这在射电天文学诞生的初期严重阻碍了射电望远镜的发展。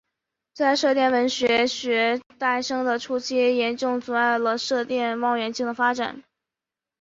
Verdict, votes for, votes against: accepted, 6, 0